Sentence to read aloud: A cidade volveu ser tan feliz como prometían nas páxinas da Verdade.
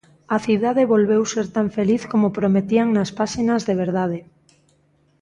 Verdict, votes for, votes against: rejected, 0, 2